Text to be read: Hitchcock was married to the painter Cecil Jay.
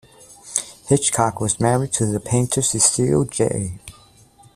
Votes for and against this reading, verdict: 2, 0, accepted